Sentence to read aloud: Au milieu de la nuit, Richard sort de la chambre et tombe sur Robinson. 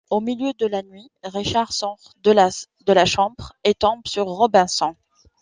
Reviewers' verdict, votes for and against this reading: rejected, 1, 2